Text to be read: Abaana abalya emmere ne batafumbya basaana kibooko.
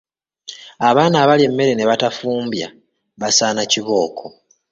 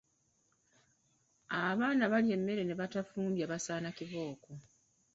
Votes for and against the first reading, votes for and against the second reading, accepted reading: 0, 2, 2, 0, second